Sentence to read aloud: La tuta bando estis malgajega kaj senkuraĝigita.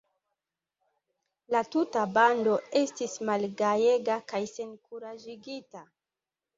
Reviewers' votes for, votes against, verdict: 2, 0, accepted